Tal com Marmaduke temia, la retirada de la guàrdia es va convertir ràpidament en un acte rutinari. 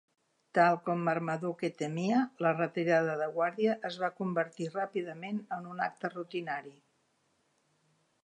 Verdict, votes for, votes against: rejected, 1, 2